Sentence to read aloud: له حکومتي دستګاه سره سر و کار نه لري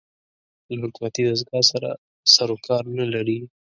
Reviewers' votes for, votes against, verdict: 3, 0, accepted